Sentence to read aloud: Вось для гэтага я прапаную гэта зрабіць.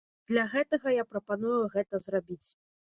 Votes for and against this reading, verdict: 1, 2, rejected